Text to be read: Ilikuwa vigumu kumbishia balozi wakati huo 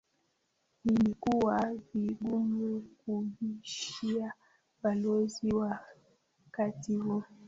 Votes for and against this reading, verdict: 0, 2, rejected